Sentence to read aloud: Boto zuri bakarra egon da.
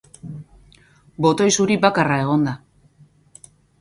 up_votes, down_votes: 0, 4